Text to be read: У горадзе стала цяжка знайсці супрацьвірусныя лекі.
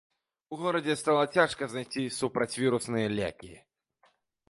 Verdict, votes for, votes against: accepted, 2, 0